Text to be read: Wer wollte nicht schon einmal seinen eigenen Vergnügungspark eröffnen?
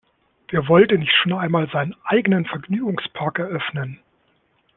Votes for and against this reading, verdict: 2, 0, accepted